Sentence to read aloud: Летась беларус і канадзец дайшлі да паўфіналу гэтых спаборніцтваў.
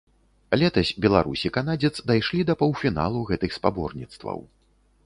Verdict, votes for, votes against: rejected, 0, 2